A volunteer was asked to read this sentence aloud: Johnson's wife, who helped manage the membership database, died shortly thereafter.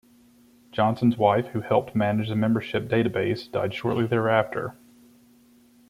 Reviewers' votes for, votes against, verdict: 2, 0, accepted